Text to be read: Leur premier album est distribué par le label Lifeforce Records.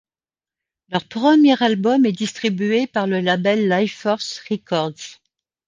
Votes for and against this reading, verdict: 2, 0, accepted